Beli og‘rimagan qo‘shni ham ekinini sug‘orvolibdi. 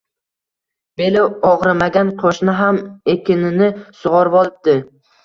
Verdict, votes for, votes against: rejected, 1, 2